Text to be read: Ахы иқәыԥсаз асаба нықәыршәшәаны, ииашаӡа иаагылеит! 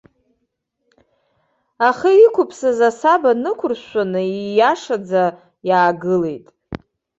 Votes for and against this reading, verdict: 2, 0, accepted